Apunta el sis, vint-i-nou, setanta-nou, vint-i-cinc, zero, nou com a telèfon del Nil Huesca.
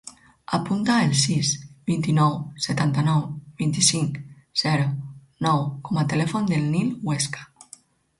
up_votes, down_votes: 4, 0